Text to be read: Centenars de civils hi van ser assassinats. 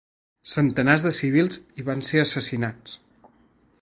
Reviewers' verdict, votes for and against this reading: accepted, 5, 0